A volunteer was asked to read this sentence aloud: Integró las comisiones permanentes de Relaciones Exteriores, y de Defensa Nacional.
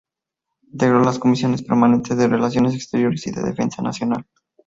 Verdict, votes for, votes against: rejected, 2, 2